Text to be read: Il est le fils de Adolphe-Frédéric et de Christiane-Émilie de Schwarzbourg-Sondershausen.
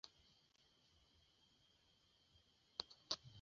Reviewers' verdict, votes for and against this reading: rejected, 0, 2